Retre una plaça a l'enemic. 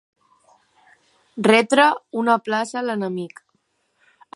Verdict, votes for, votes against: accepted, 3, 0